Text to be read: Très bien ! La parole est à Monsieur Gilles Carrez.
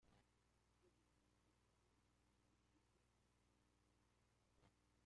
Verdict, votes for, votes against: rejected, 0, 2